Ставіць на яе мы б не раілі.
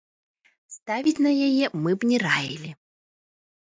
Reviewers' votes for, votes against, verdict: 2, 0, accepted